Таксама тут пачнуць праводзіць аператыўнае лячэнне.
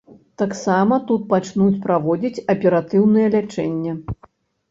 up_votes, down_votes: 3, 0